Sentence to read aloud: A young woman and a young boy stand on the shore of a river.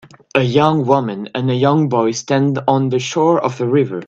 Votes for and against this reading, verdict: 2, 0, accepted